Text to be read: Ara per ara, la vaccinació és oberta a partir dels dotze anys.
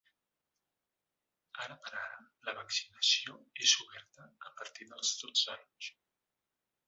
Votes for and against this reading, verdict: 0, 2, rejected